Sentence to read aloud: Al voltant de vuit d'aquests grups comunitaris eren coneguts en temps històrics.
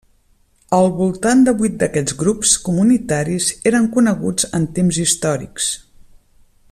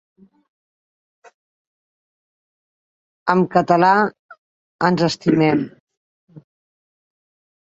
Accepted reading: first